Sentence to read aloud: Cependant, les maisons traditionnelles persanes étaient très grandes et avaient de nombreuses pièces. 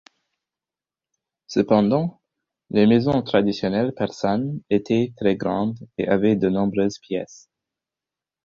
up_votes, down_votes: 4, 0